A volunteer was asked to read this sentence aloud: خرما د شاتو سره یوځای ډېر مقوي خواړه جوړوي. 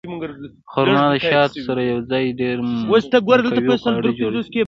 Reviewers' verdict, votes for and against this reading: rejected, 1, 2